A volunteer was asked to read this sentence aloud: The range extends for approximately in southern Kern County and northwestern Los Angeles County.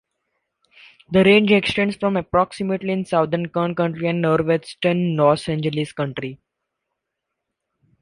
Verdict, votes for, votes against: accepted, 2, 1